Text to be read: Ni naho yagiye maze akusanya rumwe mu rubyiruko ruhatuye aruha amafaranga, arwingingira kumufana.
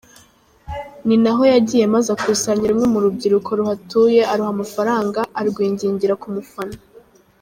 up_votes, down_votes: 3, 0